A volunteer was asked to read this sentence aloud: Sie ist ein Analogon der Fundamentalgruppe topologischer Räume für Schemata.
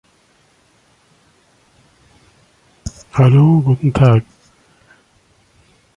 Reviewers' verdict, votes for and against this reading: rejected, 0, 2